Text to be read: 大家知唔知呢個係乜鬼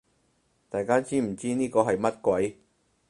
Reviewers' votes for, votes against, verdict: 4, 0, accepted